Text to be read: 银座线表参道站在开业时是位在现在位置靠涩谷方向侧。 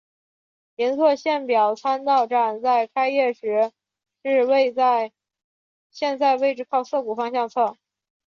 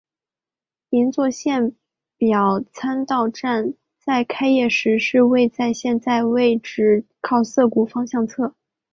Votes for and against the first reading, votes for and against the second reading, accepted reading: 0, 2, 7, 0, second